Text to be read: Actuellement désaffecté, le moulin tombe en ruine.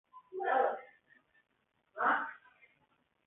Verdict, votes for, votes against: rejected, 0, 2